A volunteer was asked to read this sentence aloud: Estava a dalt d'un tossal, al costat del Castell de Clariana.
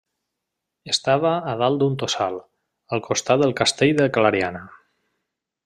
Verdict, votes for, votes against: accepted, 2, 0